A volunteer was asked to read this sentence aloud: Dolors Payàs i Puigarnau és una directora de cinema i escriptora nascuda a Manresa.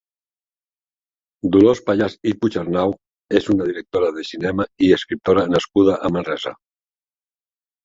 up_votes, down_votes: 2, 1